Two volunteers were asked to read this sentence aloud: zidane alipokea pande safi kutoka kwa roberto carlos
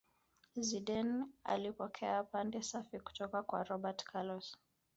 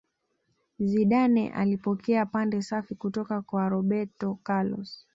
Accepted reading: second